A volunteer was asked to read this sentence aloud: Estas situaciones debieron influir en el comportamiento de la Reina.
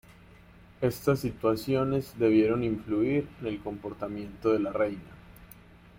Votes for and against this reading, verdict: 2, 0, accepted